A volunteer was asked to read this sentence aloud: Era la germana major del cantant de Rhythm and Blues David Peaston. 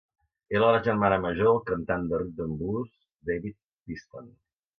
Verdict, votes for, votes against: accepted, 2, 1